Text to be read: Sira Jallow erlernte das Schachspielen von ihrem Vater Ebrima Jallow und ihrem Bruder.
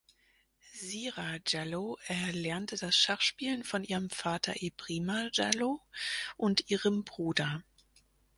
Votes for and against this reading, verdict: 2, 4, rejected